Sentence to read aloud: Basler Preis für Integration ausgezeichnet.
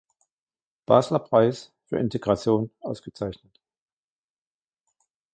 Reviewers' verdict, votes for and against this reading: accepted, 2, 1